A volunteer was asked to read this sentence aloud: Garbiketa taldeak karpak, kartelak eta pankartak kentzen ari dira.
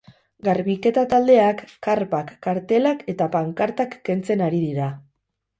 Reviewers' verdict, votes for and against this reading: accepted, 6, 0